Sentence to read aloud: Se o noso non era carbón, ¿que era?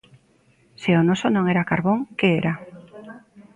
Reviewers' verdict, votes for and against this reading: accepted, 2, 0